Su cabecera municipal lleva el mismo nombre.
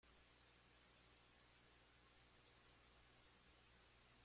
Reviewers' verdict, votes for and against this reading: rejected, 0, 2